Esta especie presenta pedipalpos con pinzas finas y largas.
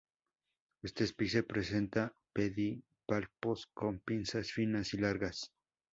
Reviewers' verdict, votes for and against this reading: rejected, 0, 2